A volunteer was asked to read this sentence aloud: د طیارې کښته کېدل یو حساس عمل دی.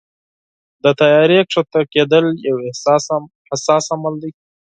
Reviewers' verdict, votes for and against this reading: rejected, 2, 4